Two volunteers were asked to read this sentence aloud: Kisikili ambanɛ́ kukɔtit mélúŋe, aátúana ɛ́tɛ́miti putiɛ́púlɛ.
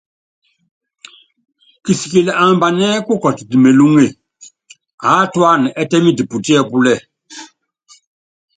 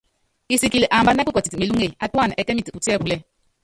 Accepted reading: first